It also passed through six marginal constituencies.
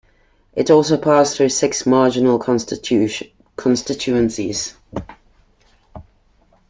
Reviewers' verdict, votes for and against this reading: rejected, 0, 2